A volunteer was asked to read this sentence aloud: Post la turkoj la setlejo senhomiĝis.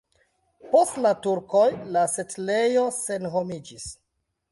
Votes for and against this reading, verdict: 2, 0, accepted